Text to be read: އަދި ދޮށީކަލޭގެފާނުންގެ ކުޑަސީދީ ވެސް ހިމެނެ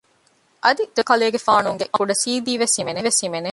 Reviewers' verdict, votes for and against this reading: rejected, 0, 2